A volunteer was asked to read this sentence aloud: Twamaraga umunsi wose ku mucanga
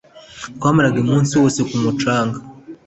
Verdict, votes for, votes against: accepted, 2, 0